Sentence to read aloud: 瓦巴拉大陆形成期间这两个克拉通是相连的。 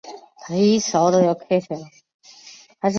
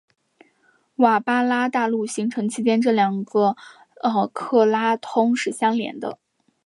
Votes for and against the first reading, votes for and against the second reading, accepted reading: 2, 4, 4, 0, second